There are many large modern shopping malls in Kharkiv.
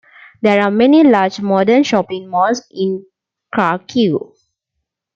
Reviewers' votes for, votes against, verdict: 2, 1, accepted